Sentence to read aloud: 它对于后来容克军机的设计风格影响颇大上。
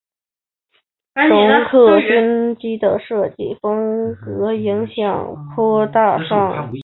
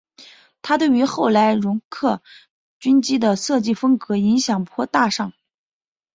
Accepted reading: second